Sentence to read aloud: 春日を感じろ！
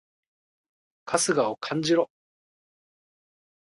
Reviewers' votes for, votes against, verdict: 2, 0, accepted